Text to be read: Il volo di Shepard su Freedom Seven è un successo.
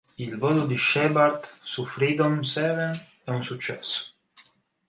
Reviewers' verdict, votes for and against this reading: accepted, 4, 0